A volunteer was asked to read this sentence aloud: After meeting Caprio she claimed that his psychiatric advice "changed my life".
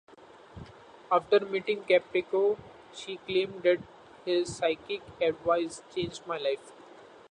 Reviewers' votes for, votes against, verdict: 1, 2, rejected